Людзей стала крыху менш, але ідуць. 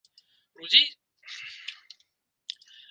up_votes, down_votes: 0, 2